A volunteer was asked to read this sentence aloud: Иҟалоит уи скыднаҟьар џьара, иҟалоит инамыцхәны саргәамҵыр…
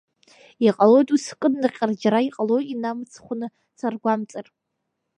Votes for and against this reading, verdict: 2, 1, accepted